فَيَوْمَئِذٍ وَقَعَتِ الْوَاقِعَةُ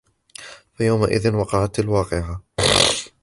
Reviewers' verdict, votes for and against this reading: rejected, 1, 2